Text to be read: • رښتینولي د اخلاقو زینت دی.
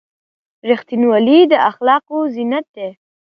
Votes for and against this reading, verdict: 2, 0, accepted